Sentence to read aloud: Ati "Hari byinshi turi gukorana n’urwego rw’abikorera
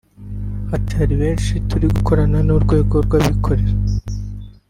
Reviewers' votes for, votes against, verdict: 1, 2, rejected